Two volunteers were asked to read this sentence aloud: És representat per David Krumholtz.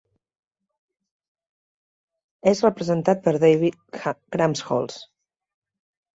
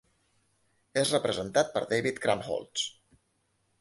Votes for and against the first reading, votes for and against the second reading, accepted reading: 1, 2, 2, 0, second